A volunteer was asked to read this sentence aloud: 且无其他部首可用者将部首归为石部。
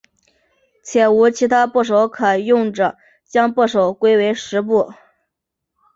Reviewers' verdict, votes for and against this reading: accepted, 2, 0